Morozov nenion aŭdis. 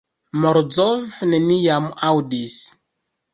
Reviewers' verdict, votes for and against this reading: rejected, 1, 2